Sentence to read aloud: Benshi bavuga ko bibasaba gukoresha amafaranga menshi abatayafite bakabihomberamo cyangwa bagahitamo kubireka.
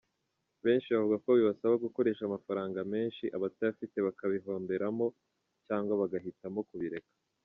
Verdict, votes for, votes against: accepted, 2, 0